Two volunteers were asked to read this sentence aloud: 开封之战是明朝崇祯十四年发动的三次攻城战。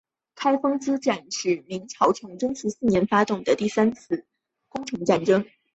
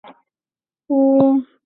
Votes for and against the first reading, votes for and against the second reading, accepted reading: 8, 3, 0, 3, first